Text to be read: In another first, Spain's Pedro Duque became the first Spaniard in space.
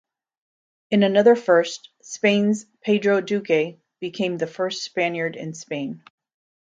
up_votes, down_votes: 0, 2